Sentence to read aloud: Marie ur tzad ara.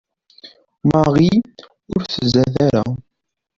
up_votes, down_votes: 2, 0